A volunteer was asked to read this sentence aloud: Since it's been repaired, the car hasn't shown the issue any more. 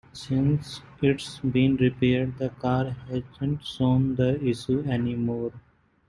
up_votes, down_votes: 0, 2